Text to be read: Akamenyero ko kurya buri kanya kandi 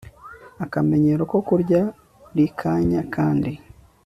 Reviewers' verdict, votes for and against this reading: accepted, 3, 0